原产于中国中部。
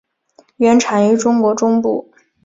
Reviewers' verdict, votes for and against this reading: rejected, 0, 2